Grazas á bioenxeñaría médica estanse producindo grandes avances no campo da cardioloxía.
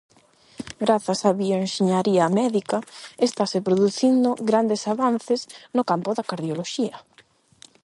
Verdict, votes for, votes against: rejected, 0, 8